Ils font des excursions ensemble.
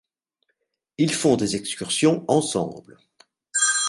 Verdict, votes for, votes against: rejected, 1, 2